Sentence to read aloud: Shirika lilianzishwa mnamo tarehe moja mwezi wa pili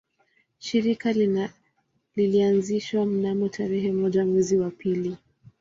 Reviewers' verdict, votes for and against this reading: rejected, 1, 2